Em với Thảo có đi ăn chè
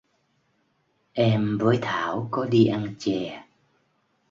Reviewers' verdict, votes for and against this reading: accepted, 2, 0